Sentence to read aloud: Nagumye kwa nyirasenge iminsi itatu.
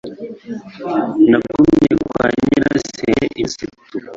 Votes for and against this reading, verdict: 1, 2, rejected